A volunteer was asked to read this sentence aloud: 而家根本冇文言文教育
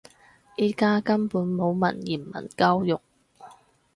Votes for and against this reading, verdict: 0, 4, rejected